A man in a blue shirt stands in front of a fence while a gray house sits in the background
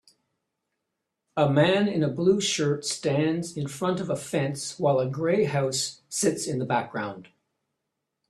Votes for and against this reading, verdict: 2, 0, accepted